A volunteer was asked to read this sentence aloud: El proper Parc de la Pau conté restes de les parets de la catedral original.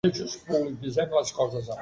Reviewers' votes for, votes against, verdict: 0, 2, rejected